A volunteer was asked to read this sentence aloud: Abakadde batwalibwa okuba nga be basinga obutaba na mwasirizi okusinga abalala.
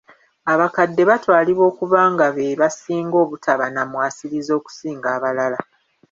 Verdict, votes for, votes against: accepted, 2, 1